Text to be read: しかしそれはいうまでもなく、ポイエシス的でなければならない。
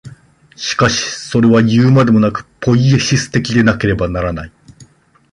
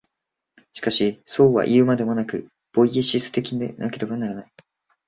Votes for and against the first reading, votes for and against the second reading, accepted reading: 2, 0, 0, 2, first